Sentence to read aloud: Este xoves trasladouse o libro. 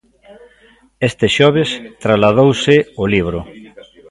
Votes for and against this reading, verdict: 2, 0, accepted